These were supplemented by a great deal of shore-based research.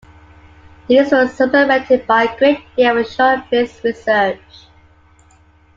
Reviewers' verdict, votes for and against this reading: accepted, 2, 1